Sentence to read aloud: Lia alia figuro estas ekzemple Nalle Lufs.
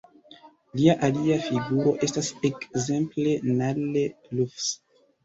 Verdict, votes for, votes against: accepted, 2, 1